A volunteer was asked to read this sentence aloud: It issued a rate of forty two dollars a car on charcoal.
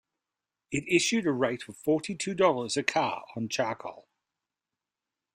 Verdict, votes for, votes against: accepted, 2, 0